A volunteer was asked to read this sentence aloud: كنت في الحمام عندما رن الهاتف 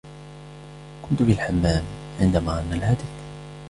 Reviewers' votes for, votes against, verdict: 2, 1, accepted